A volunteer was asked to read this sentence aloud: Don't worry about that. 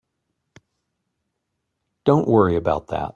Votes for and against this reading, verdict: 2, 0, accepted